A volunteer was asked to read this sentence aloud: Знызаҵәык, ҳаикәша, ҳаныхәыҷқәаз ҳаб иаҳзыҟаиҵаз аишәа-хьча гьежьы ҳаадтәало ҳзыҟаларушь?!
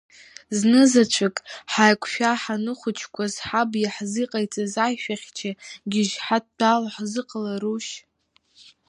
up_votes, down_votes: 0, 2